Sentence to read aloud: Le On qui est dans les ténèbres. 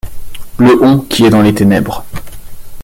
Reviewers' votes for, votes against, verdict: 3, 0, accepted